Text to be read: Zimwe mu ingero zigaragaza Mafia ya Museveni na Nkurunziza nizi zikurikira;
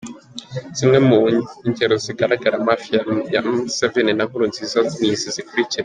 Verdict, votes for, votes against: accepted, 4, 3